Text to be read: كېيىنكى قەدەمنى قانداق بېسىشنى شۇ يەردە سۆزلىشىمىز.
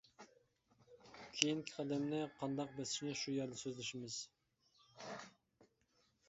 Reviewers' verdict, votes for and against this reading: accepted, 2, 0